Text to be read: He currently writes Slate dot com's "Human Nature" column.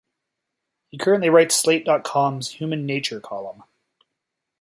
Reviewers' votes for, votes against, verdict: 2, 0, accepted